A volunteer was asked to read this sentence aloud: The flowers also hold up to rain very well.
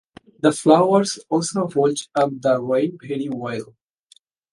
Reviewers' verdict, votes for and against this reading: rejected, 0, 2